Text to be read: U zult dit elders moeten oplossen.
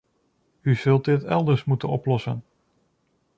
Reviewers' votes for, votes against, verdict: 2, 0, accepted